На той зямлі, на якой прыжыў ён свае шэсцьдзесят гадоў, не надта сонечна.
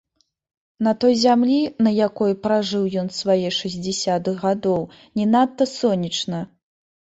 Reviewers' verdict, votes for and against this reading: rejected, 1, 2